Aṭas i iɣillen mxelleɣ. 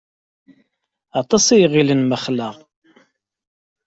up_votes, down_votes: 1, 2